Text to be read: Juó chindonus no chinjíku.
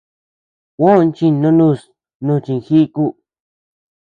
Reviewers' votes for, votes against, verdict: 3, 0, accepted